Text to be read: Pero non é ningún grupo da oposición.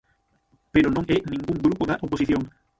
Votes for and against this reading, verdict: 0, 6, rejected